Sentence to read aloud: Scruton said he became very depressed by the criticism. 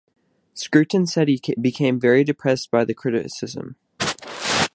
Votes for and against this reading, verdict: 2, 0, accepted